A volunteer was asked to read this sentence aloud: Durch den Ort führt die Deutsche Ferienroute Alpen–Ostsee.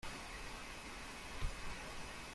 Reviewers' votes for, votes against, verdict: 0, 2, rejected